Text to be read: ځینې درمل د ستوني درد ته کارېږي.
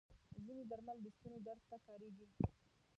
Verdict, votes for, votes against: rejected, 0, 2